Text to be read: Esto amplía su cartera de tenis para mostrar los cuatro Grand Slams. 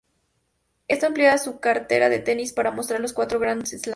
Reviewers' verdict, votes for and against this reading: rejected, 0, 2